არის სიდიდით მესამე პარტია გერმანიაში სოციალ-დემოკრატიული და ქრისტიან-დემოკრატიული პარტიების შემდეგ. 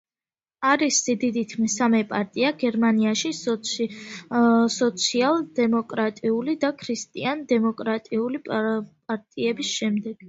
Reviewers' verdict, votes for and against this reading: rejected, 0, 2